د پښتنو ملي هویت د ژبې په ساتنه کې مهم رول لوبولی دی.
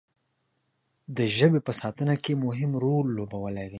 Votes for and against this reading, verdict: 0, 2, rejected